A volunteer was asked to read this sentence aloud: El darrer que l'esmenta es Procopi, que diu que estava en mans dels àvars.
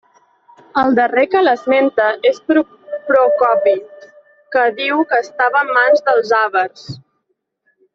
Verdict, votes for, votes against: rejected, 1, 2